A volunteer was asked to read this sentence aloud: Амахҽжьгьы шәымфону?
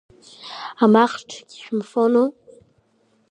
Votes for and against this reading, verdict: 0, 2, rejected